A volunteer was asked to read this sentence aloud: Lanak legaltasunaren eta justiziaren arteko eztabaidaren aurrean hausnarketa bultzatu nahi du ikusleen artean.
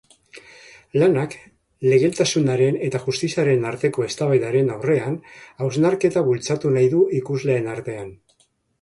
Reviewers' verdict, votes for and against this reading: accepted, 3, 2